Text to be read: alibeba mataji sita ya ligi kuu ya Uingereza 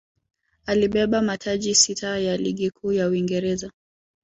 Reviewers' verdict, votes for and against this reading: accepted, 8, 1